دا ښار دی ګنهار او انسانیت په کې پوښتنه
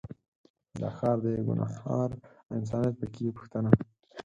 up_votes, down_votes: 4, 2